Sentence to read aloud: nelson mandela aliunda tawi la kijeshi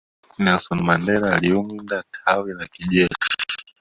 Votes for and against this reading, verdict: 0, 2, rejected